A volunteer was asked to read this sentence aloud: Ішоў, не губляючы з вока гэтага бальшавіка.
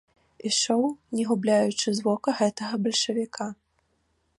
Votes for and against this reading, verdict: 2, 0, accepted